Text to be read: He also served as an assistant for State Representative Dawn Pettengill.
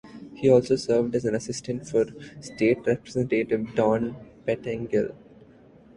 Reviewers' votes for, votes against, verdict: 2, 0, accepted